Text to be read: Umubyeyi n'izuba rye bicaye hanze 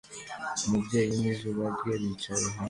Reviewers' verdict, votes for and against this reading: accepted, 2, 0